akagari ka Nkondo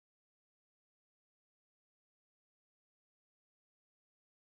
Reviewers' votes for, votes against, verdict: 0, 2, rejected